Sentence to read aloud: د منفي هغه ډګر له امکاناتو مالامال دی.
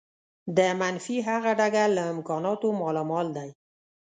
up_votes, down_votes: 2, 0